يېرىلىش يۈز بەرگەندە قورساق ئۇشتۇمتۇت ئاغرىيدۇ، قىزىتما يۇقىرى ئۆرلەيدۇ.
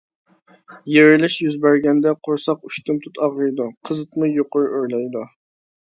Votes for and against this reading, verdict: 2, 0, accepted